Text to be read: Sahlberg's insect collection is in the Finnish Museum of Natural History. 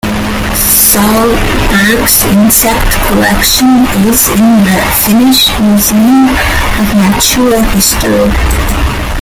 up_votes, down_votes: 0, 2